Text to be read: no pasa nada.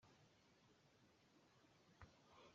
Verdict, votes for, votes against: rejected, 0, 2